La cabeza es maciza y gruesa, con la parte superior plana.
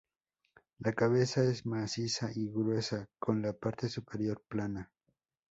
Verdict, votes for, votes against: accepted, 4, 0